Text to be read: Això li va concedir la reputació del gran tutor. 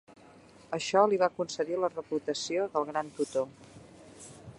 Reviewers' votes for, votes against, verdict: 2, 0, accepted